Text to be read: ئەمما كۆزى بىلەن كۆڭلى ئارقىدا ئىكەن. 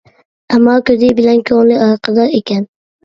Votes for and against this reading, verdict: 2, 0, accepted